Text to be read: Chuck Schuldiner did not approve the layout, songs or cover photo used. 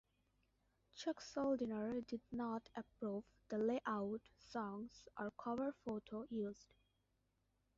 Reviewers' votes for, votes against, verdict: 1, 2, rejected